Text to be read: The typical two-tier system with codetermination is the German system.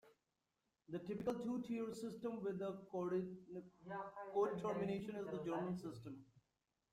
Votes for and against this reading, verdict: 0, 2, rejected